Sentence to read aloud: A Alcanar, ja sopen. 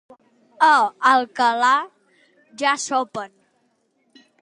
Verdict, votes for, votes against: rejected, 0, 3